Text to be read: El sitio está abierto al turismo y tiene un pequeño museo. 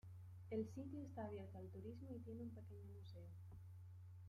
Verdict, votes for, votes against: rejected, 1, 2